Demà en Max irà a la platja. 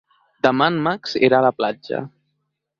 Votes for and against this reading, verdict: 3, 0, accepted